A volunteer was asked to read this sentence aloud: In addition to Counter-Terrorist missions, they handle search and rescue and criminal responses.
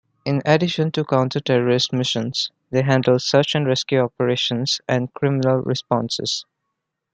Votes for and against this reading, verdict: 0, 2, rejected